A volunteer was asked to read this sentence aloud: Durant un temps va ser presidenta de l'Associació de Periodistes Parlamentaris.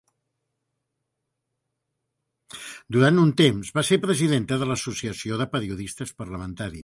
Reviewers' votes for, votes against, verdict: 1, 2, rejected